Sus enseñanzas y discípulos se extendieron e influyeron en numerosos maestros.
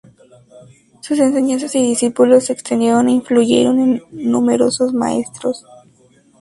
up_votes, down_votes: 2, 0